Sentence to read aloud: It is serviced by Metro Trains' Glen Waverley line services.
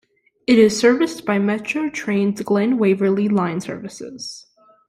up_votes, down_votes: 2, 0